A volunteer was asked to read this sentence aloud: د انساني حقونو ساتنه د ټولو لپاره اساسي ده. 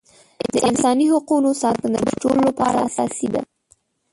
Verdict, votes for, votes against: rejected, 0, 2